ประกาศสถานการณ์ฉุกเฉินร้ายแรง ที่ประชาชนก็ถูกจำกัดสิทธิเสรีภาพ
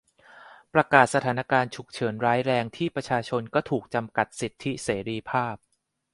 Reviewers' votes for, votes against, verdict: 2, 0, accepted